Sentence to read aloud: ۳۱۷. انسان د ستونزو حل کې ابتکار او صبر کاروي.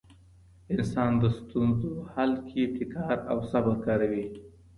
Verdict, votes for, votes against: rejected, 0, 2